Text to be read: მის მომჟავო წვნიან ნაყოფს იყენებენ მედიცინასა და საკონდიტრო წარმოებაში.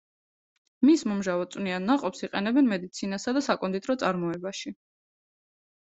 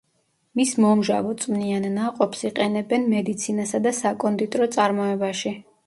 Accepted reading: first